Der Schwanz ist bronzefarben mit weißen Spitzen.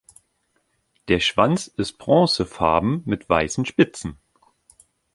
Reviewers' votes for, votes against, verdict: 2, 0, accepted